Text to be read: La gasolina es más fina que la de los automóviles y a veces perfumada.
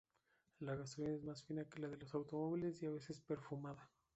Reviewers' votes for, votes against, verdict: 2, 0, accepted